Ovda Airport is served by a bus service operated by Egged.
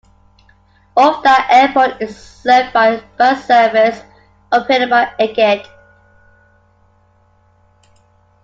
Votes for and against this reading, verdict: 0, 2, rejected